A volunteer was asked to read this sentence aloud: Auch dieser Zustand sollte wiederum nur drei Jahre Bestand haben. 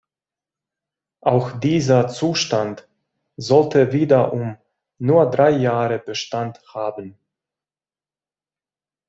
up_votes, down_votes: 2, 0